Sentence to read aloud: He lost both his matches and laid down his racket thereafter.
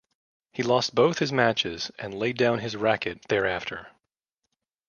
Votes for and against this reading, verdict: 2, 0, accepted